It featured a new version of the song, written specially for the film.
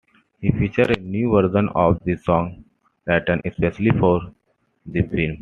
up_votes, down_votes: 2, 1